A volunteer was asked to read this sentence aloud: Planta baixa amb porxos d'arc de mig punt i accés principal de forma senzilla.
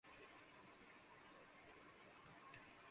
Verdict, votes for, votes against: rejected, 0, 2